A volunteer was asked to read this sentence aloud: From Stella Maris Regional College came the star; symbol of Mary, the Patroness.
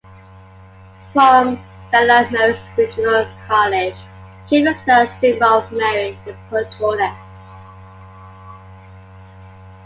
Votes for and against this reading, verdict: 0, 2, rejected